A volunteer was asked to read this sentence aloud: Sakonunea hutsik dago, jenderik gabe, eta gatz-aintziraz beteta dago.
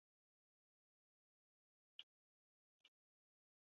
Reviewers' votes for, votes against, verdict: 0, 2, rejected